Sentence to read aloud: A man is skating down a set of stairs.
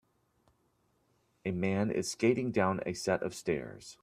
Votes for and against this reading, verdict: 2, 0, accepted